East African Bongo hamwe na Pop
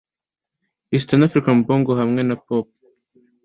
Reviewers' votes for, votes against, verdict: 2, 0, accepted